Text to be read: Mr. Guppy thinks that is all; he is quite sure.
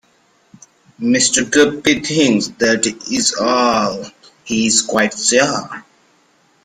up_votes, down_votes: 2, 1